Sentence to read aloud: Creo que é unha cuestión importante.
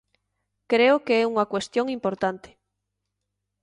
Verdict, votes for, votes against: accepted, 3, 0